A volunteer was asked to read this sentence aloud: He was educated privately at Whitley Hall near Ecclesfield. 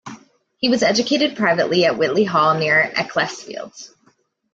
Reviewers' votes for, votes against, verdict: 2, 0, accepted